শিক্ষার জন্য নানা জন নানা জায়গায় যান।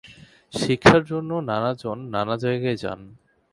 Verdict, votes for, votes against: accepted, 2, 0